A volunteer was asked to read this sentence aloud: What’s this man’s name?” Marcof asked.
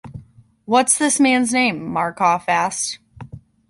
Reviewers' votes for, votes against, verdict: 2, 0, accepted